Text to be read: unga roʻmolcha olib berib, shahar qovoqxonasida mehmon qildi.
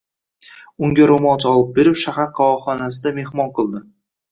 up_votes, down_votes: 0, 2